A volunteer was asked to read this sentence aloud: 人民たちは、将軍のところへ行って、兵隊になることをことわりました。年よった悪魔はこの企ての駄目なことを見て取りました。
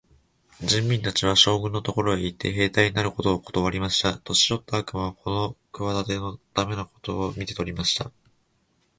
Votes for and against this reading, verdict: 3, 0, accepted